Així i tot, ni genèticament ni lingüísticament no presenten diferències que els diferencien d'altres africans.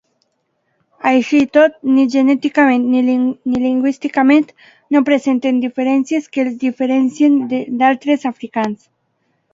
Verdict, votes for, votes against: accepted, 2, 1